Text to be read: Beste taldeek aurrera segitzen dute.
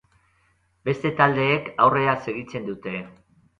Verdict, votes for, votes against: accepted, 4, 0